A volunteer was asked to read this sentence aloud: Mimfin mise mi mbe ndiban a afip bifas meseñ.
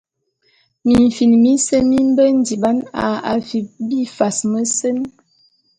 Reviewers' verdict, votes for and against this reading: accepted, 2, 0